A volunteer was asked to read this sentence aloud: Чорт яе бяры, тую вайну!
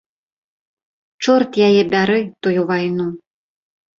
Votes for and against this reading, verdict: 2, 0, accepted